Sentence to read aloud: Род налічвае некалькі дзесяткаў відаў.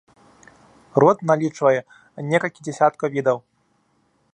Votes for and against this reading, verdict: 3, 0, accepted